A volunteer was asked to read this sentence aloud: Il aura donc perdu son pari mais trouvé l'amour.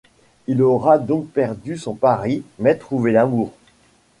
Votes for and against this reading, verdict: 2, 0, accepted